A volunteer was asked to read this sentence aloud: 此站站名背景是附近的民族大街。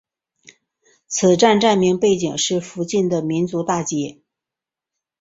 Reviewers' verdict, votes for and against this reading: accepted, 2, 0